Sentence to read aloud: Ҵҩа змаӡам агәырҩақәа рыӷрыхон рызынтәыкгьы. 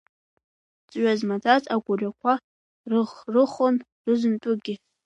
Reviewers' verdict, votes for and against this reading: rejected, 1, 2